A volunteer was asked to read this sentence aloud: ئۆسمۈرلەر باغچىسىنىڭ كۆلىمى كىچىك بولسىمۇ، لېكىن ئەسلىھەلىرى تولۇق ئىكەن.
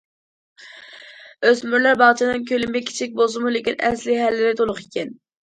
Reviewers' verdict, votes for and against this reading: rejected, 0, 2